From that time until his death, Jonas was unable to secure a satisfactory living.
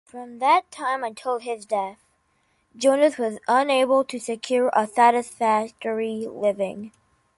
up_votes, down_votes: 2, 1